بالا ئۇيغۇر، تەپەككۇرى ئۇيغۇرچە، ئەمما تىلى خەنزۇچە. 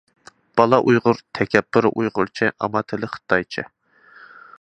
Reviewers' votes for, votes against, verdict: 0, 2, rejected